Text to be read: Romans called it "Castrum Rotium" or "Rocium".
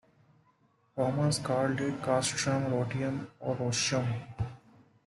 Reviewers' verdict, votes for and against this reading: accepted, 2, 0